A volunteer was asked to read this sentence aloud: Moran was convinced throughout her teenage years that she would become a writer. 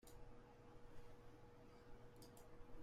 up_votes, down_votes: 0, 2